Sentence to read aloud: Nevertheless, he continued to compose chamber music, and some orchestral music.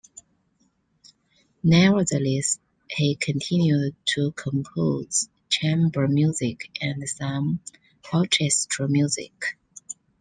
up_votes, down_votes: 2, 0